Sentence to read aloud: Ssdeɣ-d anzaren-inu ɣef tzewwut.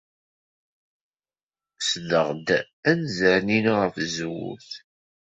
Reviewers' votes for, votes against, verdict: 2, 0, accepted